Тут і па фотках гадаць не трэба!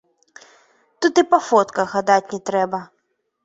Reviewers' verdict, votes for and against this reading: accepted, 2, 1